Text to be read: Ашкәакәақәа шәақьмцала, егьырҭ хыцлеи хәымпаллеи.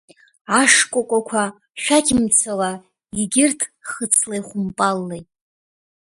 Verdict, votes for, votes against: rejected, 0, 2